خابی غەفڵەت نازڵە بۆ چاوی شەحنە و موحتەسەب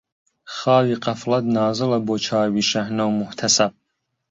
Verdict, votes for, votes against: rejected, 1, 2